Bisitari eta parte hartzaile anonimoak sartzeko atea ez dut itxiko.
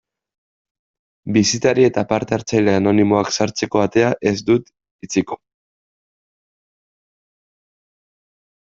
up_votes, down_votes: 2, 0